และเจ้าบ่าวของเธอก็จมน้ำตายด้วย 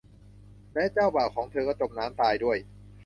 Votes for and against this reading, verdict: 1, 2, rejected